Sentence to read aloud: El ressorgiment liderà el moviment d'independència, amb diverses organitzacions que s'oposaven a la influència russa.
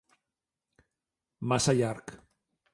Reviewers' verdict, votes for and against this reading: rejected, 0, 2